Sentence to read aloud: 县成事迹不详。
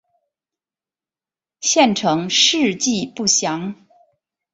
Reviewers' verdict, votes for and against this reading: accepted, 3, 0